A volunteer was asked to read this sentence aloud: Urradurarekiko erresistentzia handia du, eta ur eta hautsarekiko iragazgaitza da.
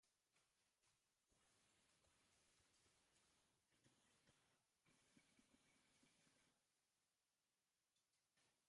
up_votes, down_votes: 0, 2